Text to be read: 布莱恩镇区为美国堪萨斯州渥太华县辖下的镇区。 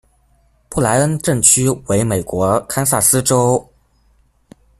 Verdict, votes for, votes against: rejected, 0, 2